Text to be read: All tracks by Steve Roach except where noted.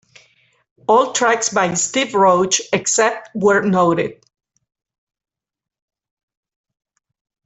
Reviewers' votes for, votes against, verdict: 2, 1, accepted